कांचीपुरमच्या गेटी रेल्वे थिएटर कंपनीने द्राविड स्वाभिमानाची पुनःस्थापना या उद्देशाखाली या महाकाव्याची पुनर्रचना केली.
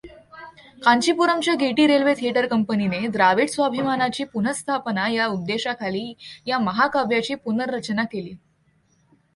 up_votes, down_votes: 2, 0